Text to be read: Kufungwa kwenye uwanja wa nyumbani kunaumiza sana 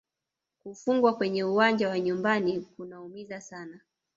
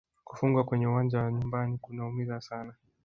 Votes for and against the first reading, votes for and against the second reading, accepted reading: 1, 2, 3, 1, second